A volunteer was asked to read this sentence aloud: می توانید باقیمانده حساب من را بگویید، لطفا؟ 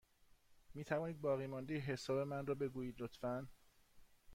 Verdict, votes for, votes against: accepted, 2, 0